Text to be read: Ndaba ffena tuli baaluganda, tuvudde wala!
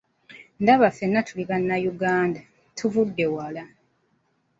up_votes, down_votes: 2, 1